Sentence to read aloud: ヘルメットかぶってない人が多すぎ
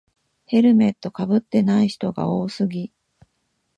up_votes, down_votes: 1, 2